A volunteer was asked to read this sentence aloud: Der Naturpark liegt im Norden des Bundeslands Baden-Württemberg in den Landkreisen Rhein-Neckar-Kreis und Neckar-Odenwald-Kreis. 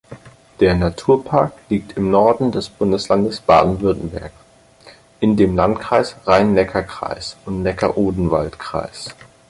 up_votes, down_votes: 6, 4